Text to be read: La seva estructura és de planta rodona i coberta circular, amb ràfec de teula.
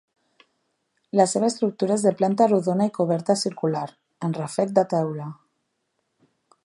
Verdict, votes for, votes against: accepted, 2, 0